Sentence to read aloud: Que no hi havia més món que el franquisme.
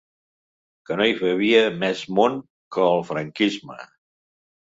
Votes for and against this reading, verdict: 1, 2, rejected